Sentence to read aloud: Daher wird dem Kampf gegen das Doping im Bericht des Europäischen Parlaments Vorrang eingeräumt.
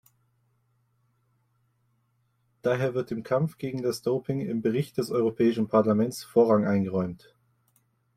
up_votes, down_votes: 0, 2